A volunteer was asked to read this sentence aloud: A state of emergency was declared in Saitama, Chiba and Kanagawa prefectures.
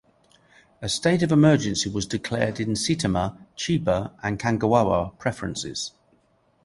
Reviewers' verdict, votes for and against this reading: rejected, 2, 2